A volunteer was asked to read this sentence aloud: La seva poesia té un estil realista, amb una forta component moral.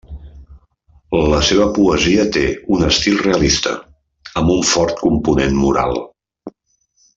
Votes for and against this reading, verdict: 0, 2, rejected